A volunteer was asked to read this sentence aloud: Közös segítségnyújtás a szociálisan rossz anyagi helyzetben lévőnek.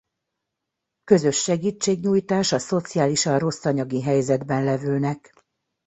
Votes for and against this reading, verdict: 0, 2, rejected